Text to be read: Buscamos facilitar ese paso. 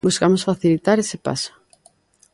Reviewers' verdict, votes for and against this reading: accepted, 2, 0